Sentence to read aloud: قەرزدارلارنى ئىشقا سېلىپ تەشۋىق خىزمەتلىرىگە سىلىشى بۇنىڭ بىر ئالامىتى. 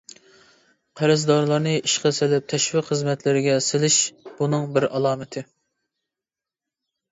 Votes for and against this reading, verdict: 1, 2, rejected